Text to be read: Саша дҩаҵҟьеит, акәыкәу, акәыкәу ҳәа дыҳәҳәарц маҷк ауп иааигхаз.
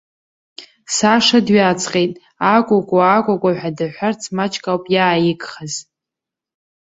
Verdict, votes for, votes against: accepted, 2, 1